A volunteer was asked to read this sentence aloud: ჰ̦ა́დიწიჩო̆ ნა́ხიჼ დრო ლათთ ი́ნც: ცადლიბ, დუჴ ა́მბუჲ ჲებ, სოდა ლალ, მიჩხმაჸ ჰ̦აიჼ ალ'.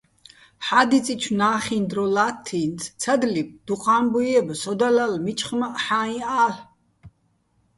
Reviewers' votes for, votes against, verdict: 2, 0, accepted